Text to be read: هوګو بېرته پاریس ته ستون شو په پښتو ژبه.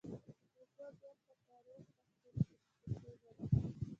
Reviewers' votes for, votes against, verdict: 0, 2, rejected